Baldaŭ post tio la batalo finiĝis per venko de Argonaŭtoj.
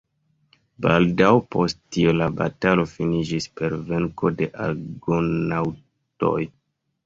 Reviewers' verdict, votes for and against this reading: rejected, 0, 2